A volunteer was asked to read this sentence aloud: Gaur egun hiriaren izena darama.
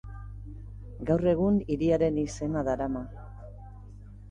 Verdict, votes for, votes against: accepted, 2, 0